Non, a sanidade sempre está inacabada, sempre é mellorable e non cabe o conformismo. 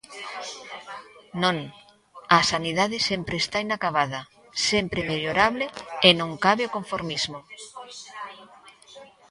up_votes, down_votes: 2, 0